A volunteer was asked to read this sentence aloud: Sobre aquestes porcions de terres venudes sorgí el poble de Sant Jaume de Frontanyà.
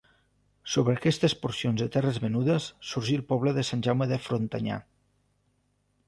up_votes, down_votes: 3, 0